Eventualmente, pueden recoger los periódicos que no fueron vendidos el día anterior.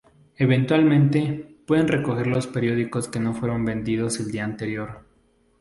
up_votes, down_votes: 0, 2